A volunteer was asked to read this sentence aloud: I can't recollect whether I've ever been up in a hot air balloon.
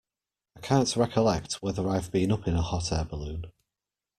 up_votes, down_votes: 0, 2